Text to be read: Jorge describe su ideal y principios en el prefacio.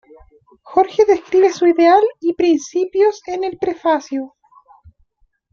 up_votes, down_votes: 1, 2